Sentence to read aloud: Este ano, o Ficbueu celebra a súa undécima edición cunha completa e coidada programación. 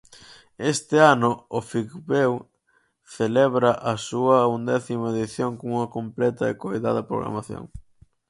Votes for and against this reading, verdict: 2, 4, rejected